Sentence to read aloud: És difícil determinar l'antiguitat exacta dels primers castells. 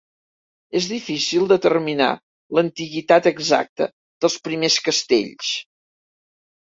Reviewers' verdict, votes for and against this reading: accepted, 2, 0